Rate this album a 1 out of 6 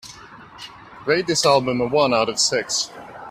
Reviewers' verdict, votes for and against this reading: rejected, 0, 2